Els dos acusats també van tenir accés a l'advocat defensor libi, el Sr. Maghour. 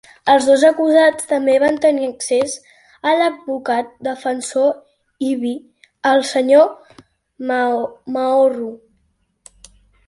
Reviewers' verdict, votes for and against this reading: rejected, 0, 3